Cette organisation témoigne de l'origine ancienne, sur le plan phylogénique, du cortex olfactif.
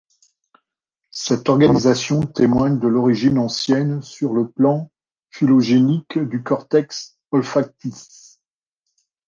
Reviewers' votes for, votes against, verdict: 0, 2, rejected